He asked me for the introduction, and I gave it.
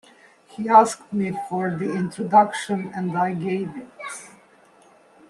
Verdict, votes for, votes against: accepted, 2, 0